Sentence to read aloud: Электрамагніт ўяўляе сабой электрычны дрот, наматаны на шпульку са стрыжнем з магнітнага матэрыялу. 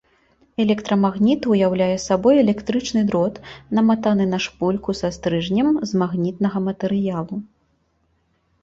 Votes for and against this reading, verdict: 2, 0, accepted